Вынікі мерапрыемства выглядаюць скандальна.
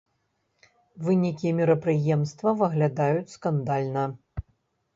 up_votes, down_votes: 2, 0